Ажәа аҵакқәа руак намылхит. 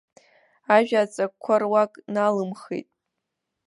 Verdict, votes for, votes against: rejected, 0, 2